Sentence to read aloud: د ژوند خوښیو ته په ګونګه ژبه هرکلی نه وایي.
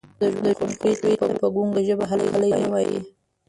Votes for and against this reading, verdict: 0, 2, rejected